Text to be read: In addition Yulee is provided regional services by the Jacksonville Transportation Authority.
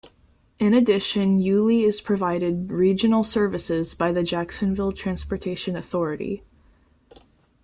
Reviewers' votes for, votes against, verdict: 2, 0, accepted